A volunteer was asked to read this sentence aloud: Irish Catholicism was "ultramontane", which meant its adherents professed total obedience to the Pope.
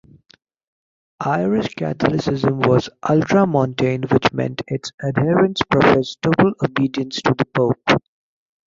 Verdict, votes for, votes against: accepted, 2, 1